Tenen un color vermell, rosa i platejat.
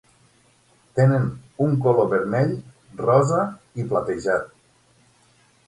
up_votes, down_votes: 9, 0